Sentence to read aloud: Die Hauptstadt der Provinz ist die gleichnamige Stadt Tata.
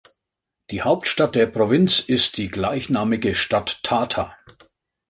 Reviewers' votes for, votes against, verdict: 3, 0, accepted